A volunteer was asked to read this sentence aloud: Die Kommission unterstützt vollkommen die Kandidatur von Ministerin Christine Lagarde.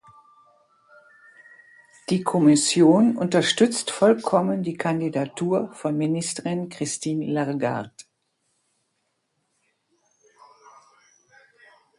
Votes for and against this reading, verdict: 1, 2, rejected